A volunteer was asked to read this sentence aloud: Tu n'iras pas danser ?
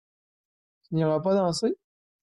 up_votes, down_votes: 1, 2